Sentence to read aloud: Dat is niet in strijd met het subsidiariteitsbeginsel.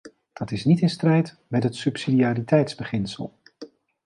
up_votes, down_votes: 2, 0